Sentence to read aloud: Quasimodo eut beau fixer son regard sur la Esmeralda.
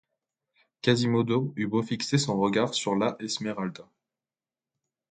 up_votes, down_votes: 2, 0